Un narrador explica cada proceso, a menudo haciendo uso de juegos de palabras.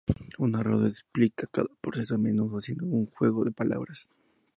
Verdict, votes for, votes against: rejected, 0, 2